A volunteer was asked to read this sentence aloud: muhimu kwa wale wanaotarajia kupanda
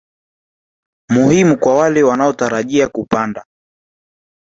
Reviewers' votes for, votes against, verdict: 0, 2, rejected